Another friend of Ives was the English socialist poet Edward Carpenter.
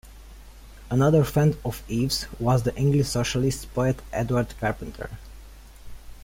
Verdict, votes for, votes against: accepted, 2, 1